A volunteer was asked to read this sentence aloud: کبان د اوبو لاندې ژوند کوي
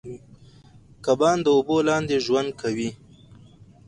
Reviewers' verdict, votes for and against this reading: accepted, 4, 0